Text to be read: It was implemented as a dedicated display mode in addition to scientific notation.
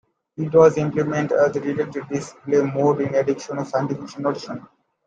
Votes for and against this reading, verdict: 1, 2, rejected